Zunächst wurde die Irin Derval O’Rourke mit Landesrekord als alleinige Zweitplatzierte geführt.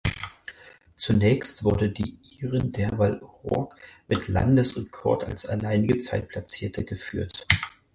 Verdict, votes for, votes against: rejected, 2, 4